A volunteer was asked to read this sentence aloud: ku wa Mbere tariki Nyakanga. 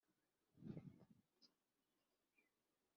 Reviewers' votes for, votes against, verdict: 0, 2, rejected